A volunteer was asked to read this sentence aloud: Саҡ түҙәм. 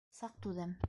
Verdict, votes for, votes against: rejected, 1, 2